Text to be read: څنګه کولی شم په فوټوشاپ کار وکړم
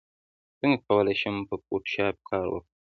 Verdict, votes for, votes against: accepted, 2, 0